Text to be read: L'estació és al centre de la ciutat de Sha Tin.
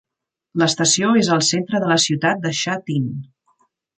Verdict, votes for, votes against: accepted, 3, 0